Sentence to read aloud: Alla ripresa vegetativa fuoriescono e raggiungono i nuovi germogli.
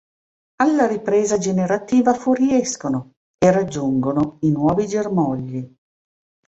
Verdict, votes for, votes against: rejected, 1, 2